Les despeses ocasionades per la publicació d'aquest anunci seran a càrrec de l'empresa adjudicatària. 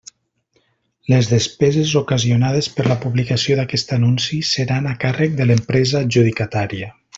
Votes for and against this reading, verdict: 2, 1, accepted